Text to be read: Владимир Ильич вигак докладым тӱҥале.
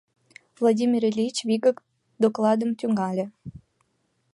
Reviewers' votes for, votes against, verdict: 2, 0, accepted